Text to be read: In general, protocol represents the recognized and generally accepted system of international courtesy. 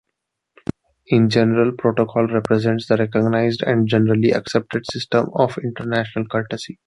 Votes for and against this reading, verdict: 2, 0, accepted